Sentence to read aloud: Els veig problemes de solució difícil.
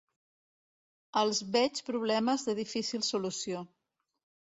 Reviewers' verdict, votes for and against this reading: rejected, 0, 2